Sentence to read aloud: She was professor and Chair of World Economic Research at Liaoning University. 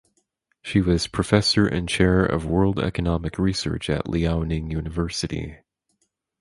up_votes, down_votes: 4, 0